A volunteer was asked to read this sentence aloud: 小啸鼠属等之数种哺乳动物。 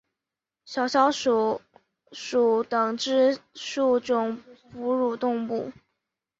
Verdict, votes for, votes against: accepted, 2, 0